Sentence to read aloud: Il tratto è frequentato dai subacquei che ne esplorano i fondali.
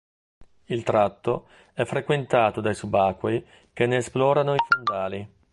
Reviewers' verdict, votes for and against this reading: rejected, 1, 2